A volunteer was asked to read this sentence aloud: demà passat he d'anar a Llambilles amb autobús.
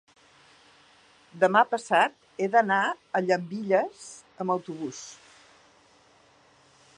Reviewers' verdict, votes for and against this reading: rejected, 0, 2